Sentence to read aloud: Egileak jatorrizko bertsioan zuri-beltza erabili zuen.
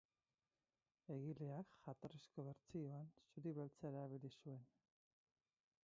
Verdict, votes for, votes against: rejected, 2, 2